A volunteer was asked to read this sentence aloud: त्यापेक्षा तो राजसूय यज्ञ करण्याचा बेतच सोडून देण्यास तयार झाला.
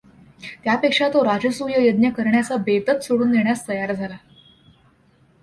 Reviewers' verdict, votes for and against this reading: accepted, 2, 0